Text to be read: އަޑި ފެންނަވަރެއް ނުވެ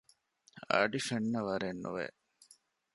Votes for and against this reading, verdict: 0, 2, rejected